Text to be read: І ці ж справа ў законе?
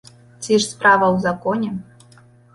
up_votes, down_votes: 1, 2